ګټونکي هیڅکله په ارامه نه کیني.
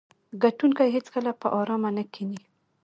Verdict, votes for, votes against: rejected, 1, 2